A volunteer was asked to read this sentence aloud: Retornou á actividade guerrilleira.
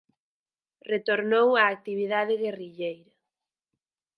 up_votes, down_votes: 0, 4